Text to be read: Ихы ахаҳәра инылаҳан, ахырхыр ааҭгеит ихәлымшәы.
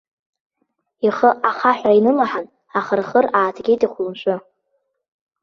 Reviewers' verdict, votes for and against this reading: accepted, 2, 0